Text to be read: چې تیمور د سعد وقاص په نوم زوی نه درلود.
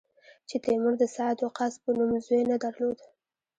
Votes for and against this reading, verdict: 1, 2, rejected